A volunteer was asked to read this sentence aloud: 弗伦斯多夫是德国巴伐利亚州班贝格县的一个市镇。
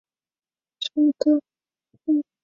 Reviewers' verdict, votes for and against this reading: rejected, 2, 6